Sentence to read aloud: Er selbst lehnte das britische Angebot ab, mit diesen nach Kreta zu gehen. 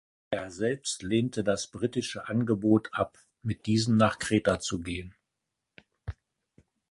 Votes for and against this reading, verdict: 2, 0, accepted